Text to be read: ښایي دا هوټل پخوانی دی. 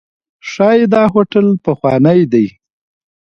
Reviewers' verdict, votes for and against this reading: accepted, 2, 0